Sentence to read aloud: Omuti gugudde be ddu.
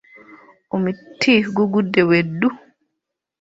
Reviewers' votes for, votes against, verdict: 2, 0, accepted